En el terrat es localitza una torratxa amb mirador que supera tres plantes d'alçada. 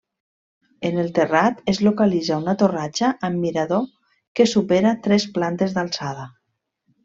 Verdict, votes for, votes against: accepted, 2, 0